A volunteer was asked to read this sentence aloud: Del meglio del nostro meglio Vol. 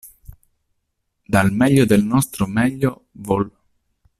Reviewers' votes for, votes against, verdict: 1, 2, rejected